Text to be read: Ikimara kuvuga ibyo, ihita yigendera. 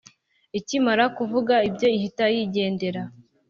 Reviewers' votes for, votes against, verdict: 2, 0, accepted